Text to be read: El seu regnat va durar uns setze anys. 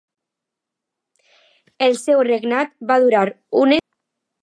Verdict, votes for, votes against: rejected, 0, 2